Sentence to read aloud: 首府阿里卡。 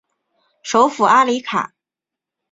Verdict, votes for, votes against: accepted, 7, 0